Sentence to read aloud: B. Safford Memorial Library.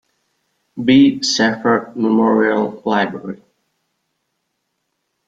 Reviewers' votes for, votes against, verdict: 2, 1, accepted